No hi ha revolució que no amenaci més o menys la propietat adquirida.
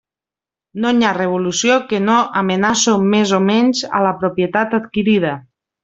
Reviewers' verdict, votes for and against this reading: rejected, 0, 2